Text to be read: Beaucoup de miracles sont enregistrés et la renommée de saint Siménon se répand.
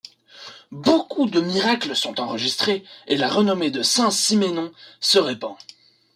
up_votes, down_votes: 2, 0